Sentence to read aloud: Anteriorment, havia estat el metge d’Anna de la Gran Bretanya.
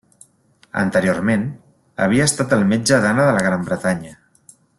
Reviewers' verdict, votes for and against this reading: accepted, 3, 0